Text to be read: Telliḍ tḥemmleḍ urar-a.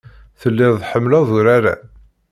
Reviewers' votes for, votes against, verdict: 2, 0, accepted